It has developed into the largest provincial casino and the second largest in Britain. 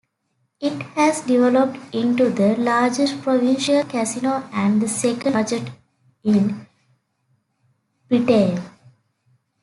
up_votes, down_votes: 0, 2